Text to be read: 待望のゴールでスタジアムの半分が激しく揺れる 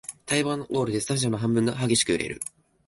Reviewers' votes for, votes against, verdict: 2, 0, accepted